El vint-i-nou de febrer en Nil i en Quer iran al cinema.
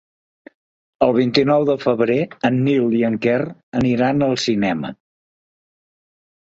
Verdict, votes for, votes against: rejected, 3, 5